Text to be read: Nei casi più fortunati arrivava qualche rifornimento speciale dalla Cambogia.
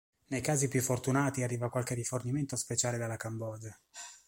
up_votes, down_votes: 1, 2